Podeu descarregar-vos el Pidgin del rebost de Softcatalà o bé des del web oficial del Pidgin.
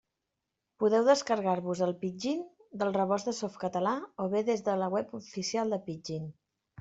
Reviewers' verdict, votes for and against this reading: rejected, 1, 2